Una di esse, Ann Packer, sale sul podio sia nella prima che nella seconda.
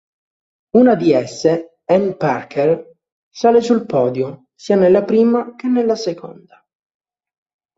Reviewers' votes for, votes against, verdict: 2, 1, accepted